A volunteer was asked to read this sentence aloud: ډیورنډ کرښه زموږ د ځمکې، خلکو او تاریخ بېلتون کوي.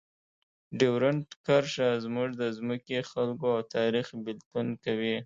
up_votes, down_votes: 2, 0